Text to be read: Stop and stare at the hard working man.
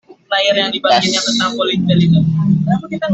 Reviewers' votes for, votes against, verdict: 0, 2, rejected